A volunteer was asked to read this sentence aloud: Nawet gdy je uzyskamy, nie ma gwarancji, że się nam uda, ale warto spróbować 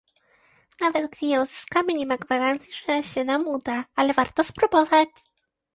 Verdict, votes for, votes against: accepted, 2, 0